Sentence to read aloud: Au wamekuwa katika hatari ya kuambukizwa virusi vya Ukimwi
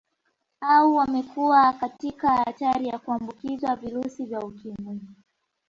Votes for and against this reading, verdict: 2, 1, accepted